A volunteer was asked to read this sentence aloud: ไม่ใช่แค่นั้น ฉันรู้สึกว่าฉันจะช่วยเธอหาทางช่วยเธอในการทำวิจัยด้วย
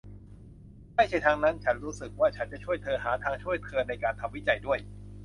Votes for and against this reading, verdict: 0, 2, rejected